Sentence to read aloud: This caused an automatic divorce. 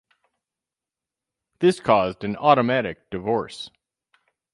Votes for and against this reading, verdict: 2, 0, accepted